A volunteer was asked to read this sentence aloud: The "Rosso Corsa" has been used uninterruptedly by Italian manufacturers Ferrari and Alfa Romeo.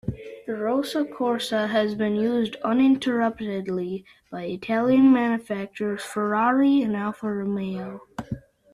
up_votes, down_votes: 1, 2